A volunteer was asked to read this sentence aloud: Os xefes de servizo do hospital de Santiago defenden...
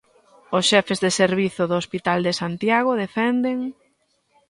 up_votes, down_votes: 2, 0